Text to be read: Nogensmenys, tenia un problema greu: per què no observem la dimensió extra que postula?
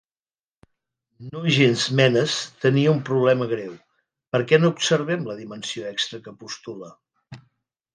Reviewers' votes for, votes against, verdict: 0, 2, rejected